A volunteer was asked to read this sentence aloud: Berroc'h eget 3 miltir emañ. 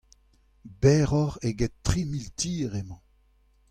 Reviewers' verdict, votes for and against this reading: rejected, 0, 2